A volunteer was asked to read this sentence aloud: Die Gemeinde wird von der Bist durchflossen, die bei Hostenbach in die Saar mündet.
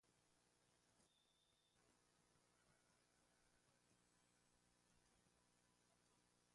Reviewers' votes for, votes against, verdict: 0, 2, rejected